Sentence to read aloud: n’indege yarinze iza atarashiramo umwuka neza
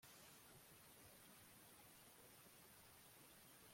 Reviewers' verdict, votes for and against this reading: rejected, 0, 2